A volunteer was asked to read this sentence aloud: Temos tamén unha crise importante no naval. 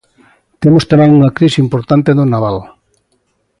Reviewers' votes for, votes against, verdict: 2, 1, accepted